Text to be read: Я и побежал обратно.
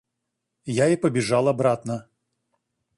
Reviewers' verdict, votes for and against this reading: accepted, 2, 0